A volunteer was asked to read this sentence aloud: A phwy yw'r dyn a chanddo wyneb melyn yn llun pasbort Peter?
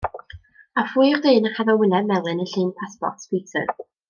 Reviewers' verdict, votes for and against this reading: rejected, 1, 2